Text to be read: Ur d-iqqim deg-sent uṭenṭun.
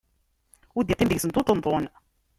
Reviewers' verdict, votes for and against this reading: rejected, 0, 2